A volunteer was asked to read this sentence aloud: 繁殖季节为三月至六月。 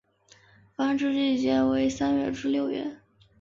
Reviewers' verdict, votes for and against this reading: accepted, 5, 0